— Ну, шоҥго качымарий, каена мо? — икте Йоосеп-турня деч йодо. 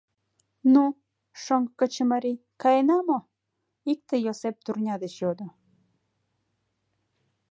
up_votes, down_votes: 1, 2